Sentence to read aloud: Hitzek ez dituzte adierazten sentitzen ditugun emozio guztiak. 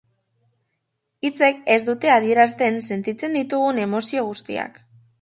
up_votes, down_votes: 0, 2